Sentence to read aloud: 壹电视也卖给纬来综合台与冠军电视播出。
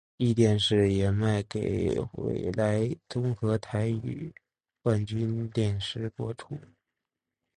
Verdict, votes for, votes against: accepted, 2, 0